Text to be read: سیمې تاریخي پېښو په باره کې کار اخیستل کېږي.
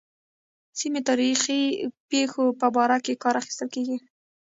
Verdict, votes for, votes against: rejected, 1, 2